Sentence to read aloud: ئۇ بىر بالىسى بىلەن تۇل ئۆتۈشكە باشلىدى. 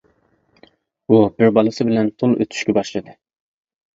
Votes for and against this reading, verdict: 2, 0, accepted